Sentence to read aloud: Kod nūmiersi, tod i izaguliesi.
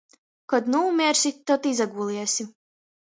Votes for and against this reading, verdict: 0, 2, rejected